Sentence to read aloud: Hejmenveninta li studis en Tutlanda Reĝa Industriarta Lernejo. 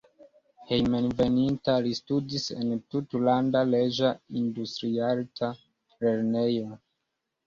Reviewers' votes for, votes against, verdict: 1, 2, rejected